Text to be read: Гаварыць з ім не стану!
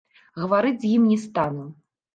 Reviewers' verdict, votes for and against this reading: rejected, 1, 2